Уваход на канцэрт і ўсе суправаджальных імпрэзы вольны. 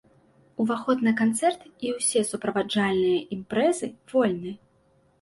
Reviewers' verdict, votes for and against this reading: rejected, 1, 2